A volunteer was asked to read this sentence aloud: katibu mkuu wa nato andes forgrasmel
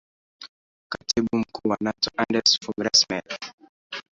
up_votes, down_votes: 1, 2